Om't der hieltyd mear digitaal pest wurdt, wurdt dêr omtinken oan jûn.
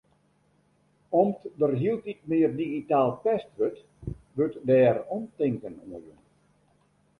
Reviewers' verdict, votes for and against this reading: rejected, 1, 2